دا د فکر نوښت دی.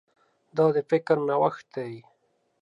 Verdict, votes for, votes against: accepted, 2, 0